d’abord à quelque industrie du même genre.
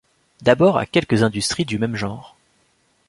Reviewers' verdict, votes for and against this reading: rejected, 1, 2